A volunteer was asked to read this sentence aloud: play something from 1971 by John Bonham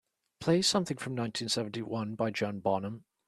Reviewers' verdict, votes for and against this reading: rejected, 0, 2